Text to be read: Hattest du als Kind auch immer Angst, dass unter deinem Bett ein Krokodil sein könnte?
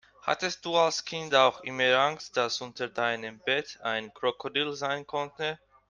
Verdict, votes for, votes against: accepted, 2, 0